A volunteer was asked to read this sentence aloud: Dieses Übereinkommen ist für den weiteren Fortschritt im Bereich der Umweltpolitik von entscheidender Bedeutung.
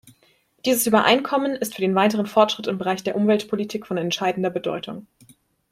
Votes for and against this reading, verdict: 2, 0, accepted